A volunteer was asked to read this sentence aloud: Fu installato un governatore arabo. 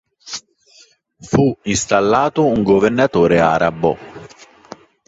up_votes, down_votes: 3, 0